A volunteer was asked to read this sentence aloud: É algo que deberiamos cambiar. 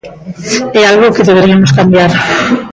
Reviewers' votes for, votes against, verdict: 1, 2, rejected